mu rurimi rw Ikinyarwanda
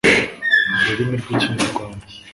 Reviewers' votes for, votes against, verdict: 3, 1, accepted